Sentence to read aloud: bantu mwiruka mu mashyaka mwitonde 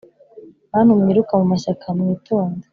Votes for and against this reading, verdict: 2, 0, accepted